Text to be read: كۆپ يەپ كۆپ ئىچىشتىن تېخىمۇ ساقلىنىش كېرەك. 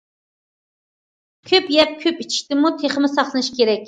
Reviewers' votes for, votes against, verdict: 1, 2, rejected